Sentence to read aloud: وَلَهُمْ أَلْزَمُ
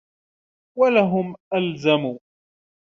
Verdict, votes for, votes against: rejected, 1, 2